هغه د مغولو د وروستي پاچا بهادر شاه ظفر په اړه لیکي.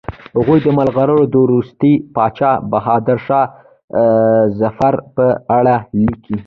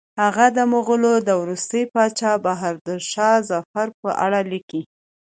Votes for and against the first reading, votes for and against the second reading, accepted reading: 0, 2, 2, 0, second